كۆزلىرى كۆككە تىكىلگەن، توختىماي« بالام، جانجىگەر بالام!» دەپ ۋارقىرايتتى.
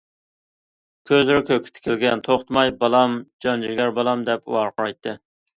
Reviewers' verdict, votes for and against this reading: accepted, 2, 0